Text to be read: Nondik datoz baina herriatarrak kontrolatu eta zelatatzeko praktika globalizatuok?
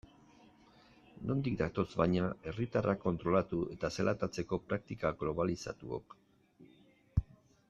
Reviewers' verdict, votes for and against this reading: accepted, 2, 0